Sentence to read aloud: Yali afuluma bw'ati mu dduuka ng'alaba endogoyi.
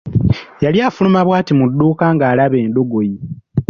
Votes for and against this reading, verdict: 0, 2, rejected